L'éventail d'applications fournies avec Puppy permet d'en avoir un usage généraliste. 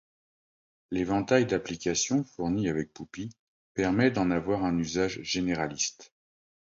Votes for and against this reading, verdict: 2, 0, accepted